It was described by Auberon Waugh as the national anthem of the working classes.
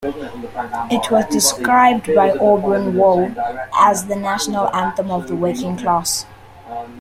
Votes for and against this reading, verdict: 1, 2, rejected